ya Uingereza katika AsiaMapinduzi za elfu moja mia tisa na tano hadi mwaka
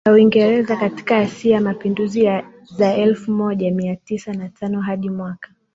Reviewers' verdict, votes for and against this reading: accepted, 2, 1